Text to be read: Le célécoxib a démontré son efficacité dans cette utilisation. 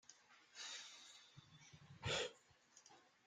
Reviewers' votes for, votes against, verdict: 0, 2, rejected